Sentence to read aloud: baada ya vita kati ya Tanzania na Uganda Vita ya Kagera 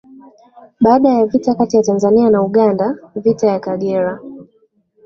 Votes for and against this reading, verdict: 2, 0, accepted